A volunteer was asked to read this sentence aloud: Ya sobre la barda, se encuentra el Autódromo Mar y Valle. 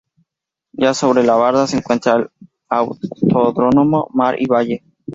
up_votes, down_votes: 0, 4